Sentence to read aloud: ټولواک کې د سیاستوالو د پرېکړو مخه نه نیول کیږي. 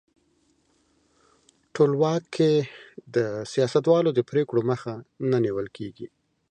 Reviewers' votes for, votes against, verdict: 2, 0, accepted